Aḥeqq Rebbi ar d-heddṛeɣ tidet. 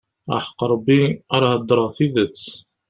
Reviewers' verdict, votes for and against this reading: rejected, 1, 2